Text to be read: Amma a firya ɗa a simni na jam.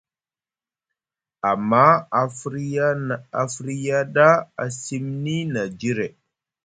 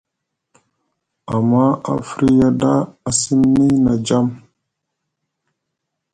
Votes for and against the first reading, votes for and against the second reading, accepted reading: 1, 2, 2, 0, second